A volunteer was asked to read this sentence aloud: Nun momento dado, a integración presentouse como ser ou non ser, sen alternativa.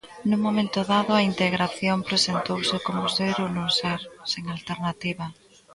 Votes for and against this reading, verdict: 0, 2, rejected